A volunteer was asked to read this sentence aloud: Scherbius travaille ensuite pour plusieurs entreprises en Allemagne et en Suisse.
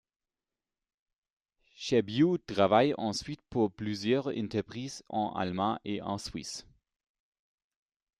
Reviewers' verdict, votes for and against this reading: rejected, 1, 2